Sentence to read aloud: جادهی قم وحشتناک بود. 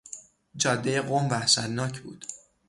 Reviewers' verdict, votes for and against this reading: rejected, 3, 3